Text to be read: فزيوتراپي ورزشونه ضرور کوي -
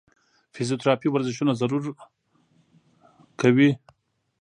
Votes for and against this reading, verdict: 1, 2, rejected